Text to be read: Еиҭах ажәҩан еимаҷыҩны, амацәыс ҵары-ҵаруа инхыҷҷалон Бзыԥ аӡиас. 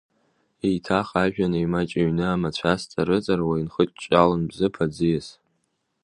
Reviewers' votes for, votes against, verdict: 0, 2, rejected